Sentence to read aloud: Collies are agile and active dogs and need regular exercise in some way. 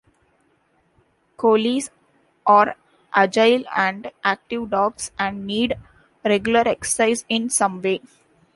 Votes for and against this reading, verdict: 2, 1, accepted